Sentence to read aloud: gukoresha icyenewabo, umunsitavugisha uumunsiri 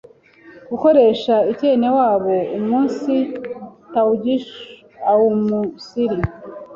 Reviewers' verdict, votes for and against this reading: rejected, 0, 2